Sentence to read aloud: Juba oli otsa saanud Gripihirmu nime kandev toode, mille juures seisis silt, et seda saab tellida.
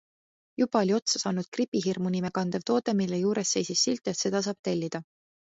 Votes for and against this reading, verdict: 2, 0, accepted